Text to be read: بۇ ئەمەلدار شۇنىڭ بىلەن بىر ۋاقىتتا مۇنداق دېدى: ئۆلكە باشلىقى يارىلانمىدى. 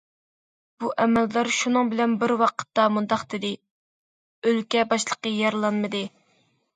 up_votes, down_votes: 2, 0